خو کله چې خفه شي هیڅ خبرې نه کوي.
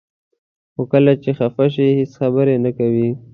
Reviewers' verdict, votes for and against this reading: accepted, 2, 0